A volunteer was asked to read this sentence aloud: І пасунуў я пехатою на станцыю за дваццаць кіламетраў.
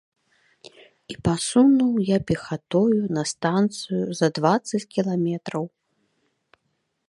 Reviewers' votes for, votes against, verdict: 2, 0, accepted